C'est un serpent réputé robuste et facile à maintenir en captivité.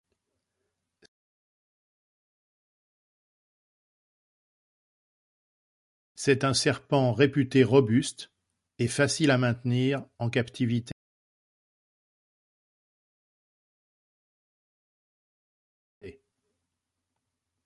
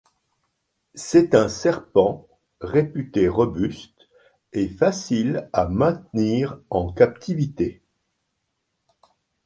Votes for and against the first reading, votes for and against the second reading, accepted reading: 1, 2, 2, 0, second